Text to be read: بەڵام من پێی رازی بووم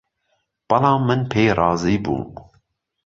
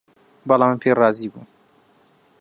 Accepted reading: first